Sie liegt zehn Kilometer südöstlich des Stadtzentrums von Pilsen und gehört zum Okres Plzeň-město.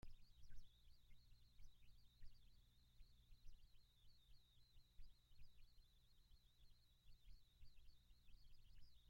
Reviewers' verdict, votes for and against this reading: rejected, 0, 2